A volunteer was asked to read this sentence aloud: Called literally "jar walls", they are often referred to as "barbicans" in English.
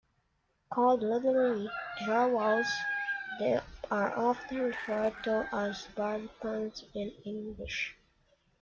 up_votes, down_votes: 1, 2